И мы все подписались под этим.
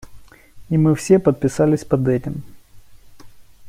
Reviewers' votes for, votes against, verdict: 2, 0, accepted